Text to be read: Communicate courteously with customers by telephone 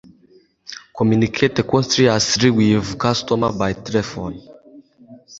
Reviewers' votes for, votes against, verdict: 2, 3, rejected